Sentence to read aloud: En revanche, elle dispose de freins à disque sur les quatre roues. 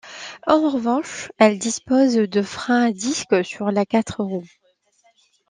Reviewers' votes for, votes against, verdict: 2, 0, accepted